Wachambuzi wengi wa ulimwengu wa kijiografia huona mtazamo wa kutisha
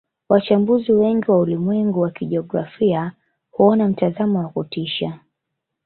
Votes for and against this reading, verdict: 1, 2, rejected